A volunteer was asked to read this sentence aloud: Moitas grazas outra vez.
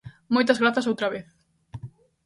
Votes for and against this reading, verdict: 2, 0, accepted